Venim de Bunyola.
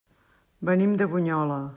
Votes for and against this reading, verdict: 3, 0, accepted